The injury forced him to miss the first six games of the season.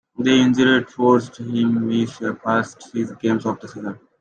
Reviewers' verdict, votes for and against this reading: rejected, 0, 2